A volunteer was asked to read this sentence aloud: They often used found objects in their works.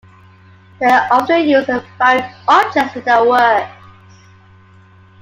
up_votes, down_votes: 2, 1